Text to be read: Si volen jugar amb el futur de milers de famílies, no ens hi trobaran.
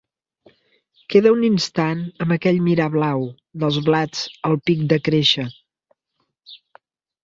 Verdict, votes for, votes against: rejected, 0, 2